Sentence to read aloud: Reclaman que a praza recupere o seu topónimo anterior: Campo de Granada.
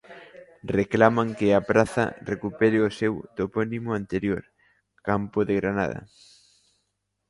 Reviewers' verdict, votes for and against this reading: accepted, 2, 0